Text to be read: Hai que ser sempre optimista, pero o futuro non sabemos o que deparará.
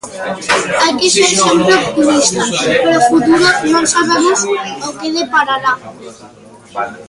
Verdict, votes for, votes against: rejected, 0, 2